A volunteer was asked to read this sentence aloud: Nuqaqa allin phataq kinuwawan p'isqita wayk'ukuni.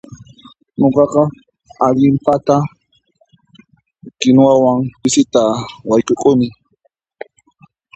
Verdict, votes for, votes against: rejected, 1, 2